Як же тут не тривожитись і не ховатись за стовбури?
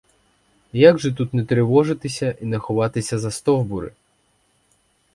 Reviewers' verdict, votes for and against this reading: rejected, 2, 4